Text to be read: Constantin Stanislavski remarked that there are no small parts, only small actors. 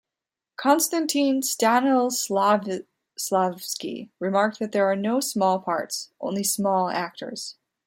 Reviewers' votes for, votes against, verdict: 0, 2, rejected